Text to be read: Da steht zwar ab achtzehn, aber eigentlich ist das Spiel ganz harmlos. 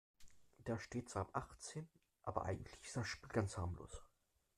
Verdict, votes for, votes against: rejected, 1, 2